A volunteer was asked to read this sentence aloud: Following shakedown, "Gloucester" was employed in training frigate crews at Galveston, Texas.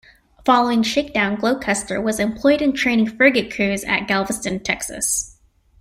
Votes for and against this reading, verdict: 2, 0, accepted